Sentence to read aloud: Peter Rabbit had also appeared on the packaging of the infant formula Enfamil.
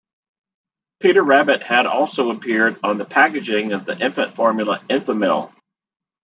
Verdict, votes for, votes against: accepted, 2, 0